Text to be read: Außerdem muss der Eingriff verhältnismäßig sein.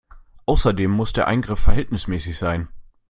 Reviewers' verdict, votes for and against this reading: accepted, 2, 0